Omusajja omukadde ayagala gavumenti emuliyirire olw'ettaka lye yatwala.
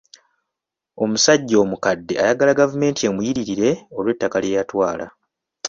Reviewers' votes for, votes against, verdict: 2, 0, accepted